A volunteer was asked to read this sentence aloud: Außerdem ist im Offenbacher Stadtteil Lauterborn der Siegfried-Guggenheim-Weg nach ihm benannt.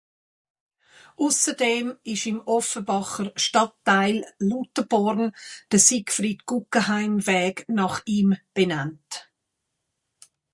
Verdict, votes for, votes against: rejected, 0, 2